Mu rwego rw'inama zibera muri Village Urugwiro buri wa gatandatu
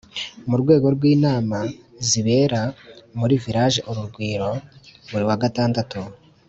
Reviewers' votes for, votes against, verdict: 2, 0, accepted